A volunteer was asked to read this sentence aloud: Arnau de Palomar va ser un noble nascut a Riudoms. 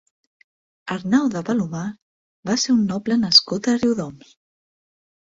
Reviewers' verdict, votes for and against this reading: accepted, 6, 0